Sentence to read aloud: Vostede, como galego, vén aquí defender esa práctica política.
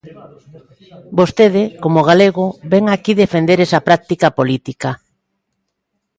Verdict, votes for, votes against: accepted, 2, 0